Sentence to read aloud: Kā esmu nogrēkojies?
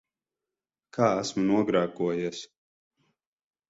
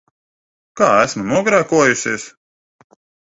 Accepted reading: first